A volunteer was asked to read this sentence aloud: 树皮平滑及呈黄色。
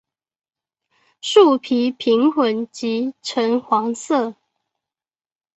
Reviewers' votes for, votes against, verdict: 1, 3, rejected